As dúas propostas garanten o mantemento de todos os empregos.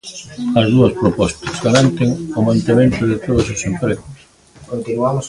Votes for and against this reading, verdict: 0, 2, rejected